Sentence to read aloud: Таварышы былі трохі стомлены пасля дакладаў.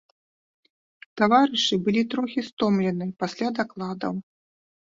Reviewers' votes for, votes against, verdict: 3, 0, accepted